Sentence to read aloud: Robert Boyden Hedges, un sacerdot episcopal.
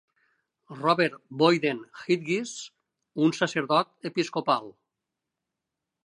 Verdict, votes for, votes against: rejected, 1, 2